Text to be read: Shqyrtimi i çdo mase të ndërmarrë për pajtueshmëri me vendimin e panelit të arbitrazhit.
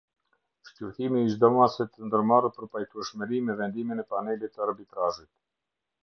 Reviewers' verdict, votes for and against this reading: accepted, 2, 0